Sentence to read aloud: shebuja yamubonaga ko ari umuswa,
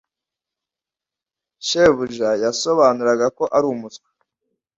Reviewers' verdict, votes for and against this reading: rejected, 1, 2